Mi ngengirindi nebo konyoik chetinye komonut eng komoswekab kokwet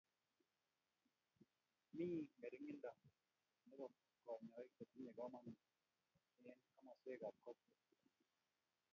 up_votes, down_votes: 0, 2